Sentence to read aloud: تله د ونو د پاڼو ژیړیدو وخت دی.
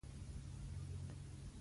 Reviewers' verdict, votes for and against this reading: rejected, 0, 2